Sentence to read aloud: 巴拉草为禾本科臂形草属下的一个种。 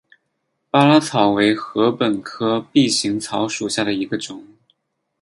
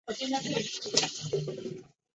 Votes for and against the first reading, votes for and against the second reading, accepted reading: 8, 2, 0, 2, first